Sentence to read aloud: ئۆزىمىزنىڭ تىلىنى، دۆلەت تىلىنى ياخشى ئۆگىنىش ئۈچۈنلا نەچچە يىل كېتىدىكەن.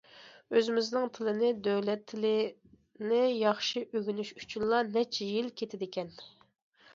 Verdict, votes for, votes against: accepted, 2, 0